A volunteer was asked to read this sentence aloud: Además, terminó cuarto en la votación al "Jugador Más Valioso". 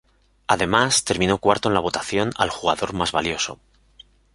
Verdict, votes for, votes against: accepted, 2, 0